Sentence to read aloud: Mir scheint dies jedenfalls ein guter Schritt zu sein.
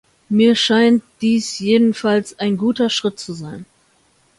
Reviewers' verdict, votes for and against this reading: accepted, 2, 0